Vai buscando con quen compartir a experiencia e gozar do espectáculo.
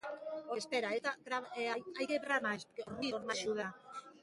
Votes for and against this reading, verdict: 0, 2, rejected